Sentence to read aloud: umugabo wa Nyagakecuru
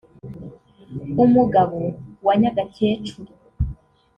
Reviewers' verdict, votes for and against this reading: accepted, 2, 1